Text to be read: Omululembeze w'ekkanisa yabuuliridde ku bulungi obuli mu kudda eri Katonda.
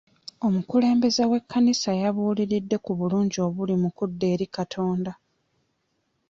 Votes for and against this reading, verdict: 1, 2, rejected